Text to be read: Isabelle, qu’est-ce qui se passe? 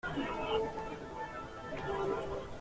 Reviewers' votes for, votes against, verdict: 0, 2, rejected